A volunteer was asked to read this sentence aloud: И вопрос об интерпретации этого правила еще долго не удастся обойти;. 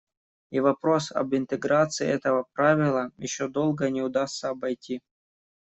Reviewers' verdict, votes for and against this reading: rejected, 0, 2